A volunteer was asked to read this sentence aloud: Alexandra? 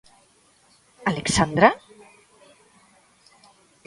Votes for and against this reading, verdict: 0, 2, rejected